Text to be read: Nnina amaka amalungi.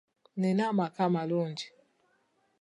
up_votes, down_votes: 2, 0